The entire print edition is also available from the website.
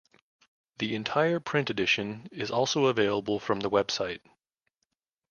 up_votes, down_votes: 2, 0